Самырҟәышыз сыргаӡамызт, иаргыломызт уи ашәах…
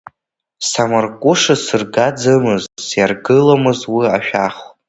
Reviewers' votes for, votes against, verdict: 0, 2, rejected